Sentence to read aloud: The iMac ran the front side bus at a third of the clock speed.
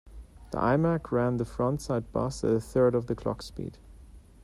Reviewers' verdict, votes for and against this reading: rejected, 0, 2